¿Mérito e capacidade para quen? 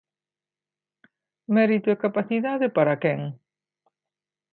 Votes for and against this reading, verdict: 2, 0, accepted